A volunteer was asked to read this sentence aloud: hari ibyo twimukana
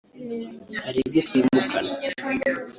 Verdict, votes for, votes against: rejected, 1, 2